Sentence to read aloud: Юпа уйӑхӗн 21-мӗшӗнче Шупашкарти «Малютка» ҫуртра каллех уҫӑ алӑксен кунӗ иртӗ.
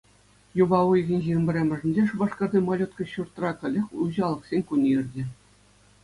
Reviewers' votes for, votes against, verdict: 0, 2, rejected